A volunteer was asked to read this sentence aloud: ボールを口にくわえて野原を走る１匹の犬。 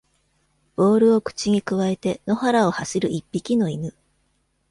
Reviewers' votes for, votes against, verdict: 0, 2, rejected